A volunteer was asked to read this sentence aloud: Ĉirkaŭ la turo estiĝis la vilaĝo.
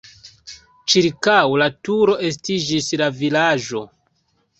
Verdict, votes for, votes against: accepted, 3, 0